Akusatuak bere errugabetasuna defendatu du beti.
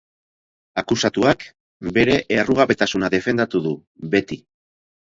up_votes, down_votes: 2, 0